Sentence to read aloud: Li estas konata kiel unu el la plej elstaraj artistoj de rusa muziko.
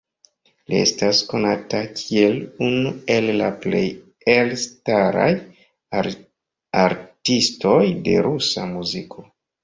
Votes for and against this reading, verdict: 0, 2, rejected